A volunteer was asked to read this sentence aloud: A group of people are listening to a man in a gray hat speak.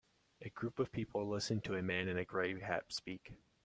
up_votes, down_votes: 1, 2